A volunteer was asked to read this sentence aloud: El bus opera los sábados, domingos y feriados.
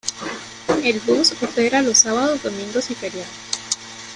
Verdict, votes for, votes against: rejected, 0, 2